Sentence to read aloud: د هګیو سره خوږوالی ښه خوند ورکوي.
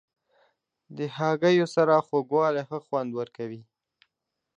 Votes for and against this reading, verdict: 2, 0, accepted